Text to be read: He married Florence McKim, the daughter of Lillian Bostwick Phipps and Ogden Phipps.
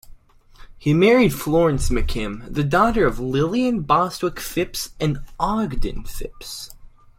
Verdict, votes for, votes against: accepted, 2, 0